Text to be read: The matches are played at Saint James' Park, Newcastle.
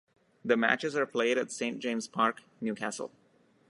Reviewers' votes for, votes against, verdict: 2, 1, accepted